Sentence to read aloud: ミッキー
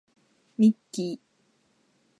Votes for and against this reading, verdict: 1, 2, rejected